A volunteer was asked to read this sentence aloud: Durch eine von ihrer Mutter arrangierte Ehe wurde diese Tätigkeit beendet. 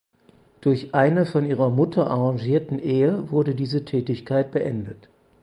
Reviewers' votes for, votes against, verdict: 2, 4, rejected